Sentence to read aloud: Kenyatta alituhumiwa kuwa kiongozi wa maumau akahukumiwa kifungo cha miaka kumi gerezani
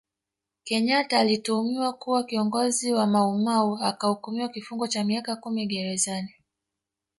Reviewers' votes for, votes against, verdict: 1, 2, rejected